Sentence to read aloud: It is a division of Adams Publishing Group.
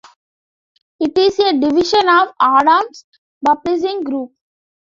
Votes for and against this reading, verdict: 2, 1, accepted